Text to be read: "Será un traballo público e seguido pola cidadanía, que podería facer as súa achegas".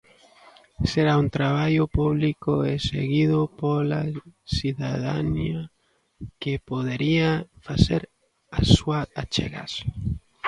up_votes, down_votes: 0, 2